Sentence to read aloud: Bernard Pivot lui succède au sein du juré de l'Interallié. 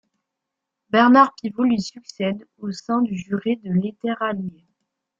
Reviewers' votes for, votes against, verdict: 0, 2, rejected